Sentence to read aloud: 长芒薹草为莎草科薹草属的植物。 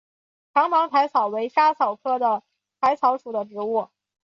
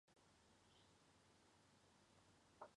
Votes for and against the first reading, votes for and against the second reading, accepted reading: 2, 0, 0, 3, first